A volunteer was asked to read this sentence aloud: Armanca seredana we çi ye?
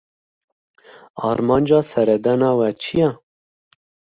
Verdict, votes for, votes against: accepted, 2, 0